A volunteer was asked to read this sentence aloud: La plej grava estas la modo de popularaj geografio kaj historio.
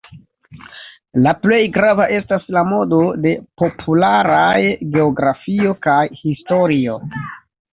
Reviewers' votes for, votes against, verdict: 0, 3, rejected